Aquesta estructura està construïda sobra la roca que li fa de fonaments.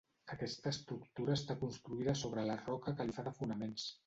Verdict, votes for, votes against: rejected, 1, 2